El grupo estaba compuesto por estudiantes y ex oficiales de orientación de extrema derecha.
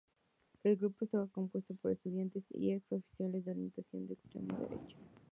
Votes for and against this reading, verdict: 2, 2, rejected